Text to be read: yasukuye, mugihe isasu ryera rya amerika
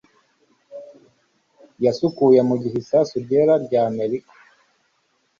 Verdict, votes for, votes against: accepted, 2, 0